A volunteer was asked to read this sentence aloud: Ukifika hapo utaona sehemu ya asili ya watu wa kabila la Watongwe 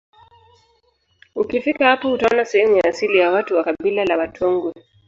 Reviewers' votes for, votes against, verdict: 0, 2, rejected